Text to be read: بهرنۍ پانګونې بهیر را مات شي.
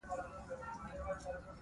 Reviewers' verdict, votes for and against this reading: rejected, 0, 2